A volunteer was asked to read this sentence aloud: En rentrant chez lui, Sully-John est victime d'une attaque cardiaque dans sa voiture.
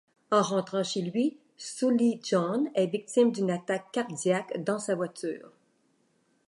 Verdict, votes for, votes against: accepted, 2, 0